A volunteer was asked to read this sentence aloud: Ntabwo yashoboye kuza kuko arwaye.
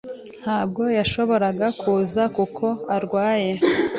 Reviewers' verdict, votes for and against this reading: rejected, 1, 2